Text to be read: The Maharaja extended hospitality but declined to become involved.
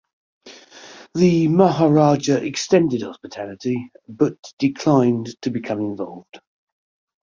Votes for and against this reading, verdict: 2, 0, accepted